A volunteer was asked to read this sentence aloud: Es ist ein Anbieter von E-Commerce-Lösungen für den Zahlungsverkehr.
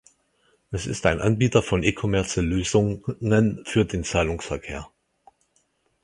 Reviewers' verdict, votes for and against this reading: rejected, 0, 4